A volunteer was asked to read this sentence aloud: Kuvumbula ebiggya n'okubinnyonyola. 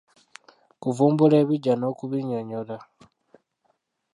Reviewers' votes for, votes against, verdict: 0, 2, rejected